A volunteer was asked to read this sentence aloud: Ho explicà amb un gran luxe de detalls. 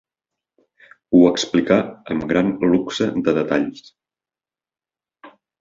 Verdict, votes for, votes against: rejected, 1, 2